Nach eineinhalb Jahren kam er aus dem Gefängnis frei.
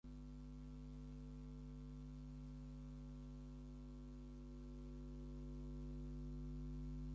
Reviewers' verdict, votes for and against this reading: rejected, 0, 4